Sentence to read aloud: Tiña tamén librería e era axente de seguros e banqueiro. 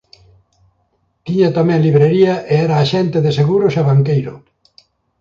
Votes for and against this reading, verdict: 2, 0, accepted